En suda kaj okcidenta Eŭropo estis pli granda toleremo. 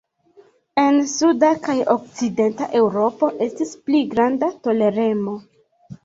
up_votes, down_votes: 1, 2